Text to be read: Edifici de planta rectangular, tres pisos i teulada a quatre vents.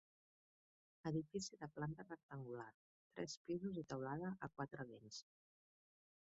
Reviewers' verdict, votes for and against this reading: rejected, 0, 2